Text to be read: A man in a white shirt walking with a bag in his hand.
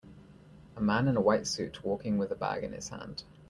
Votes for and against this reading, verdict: 1, 2, rejected